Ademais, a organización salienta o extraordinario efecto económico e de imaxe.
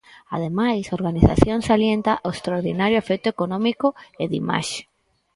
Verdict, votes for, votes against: accepted, 4, 0